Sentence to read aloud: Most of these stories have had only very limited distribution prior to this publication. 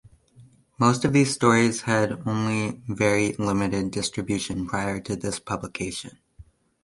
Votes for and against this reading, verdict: 0, 2, rejected